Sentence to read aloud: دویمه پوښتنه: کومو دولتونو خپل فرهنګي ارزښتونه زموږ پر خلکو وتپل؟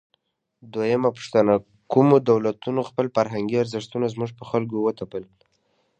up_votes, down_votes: 2, 1